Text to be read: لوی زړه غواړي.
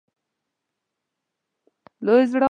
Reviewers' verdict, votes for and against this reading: rejected, 1, 2